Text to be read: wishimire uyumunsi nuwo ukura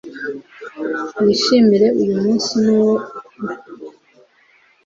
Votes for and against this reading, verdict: 0, 2, rejected